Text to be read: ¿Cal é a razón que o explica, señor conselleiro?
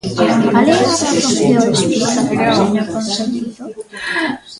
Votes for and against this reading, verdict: 0, 3, rejected